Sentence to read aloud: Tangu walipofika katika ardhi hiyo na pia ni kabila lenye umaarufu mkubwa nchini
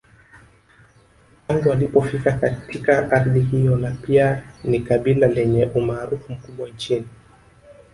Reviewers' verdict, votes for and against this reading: rejected, 0, 2